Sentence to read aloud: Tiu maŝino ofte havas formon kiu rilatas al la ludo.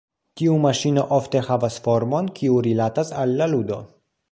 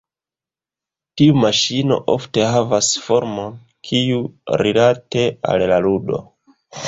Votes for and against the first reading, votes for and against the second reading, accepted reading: 2, 0, 1, 2, first